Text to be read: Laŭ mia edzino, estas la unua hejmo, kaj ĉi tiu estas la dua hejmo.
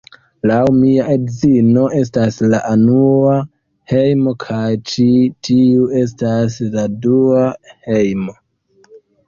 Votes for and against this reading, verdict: 0, 2, rejected